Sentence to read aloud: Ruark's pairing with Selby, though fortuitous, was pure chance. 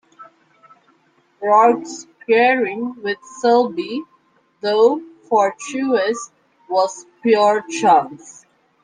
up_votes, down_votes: 1, 2